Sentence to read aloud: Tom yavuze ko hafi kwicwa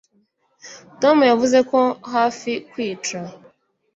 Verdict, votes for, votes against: rejected, 0, 2